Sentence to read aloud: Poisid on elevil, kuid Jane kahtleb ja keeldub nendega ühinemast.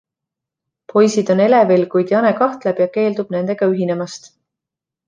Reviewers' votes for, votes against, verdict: 2, 0, accepted